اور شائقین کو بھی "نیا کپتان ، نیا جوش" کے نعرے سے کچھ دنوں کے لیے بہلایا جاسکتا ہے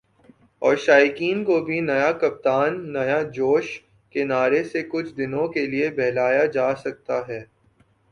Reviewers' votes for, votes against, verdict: 4, 2, accepted